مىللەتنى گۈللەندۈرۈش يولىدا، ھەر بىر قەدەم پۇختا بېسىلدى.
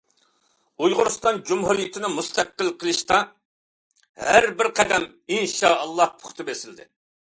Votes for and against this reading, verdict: 1, 2, rejected